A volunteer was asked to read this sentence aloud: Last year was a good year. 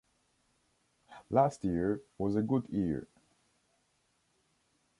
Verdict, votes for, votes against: accepted, 2, 0